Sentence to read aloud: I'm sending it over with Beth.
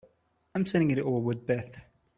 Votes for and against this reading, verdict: 2, 1, accepted